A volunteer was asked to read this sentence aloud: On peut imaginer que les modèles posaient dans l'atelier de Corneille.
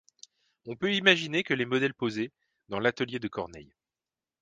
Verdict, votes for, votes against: accepted, 2, 0